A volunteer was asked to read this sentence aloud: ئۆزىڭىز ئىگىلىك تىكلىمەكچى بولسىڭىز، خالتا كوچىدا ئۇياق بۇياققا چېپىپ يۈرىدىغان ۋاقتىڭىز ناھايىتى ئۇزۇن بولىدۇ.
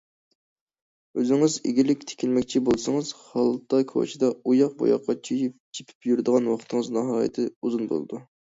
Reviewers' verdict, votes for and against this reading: rejected, 0, 2